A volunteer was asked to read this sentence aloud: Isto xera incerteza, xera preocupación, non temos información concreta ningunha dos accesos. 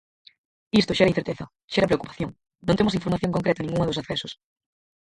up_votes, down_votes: 2, 4